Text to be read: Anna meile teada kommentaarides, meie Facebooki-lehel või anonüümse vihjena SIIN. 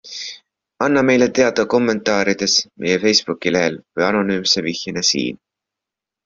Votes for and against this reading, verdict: 2, 0, accepted